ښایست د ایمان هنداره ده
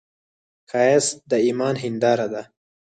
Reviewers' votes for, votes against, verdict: 0, 4, rejected